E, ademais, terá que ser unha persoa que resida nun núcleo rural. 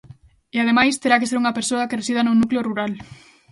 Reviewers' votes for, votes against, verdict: 2, 0, accepted